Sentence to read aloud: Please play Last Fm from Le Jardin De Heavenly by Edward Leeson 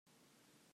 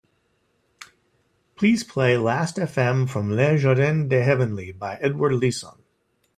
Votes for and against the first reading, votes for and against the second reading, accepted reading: 0, 2, 2, 0, second